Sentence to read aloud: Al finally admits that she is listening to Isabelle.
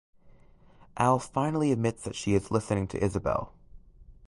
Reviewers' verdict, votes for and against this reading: accepted, 2, 0